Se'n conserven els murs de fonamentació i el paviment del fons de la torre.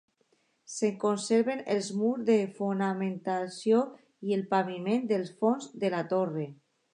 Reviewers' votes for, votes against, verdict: 3, 2, accepted